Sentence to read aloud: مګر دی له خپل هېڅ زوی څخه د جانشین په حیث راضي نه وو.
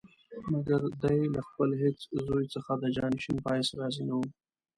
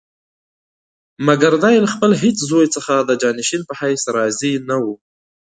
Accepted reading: second